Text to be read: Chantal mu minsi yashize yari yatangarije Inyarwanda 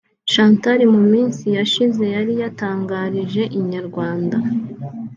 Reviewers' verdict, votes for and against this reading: rejected, 0, 2